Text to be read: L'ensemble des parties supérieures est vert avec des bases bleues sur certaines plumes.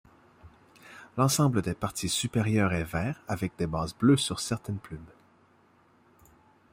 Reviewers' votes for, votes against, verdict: 2, 0, accepted